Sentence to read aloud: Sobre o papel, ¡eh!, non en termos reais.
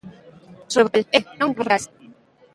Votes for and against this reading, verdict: 0, 2, rejected